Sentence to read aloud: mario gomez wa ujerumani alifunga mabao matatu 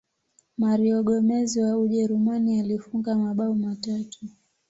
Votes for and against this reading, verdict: 2, 0, accepted